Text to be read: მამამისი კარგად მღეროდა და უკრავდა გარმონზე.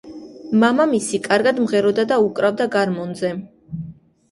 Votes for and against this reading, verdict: 2, 0, accepted